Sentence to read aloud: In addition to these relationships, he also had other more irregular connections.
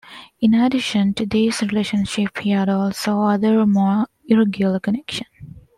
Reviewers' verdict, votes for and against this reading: rejected, 1, 2